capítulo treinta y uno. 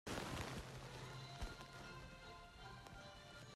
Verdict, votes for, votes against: rejected, 0, 2